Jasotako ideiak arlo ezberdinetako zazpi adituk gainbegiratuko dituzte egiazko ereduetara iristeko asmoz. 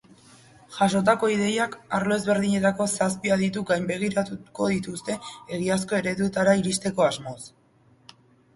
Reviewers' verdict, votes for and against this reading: accepted, 2, 0